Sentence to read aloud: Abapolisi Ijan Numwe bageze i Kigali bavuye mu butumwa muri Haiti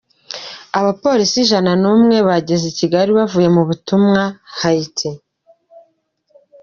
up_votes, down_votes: 1, 2